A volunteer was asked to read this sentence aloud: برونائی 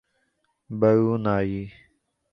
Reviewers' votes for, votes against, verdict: 3, 0, accepted